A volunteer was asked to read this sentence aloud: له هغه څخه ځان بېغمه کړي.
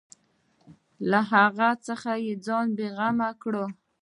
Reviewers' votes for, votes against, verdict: 1, 2, rejected